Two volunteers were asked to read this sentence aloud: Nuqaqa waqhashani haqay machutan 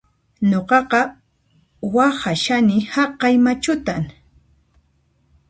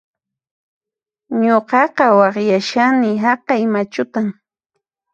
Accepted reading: first